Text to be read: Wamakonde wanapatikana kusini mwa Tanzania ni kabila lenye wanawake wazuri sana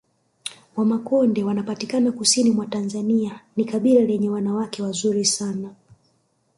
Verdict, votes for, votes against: rejected, 1, 2